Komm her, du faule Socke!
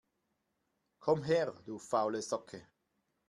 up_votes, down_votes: 2, 0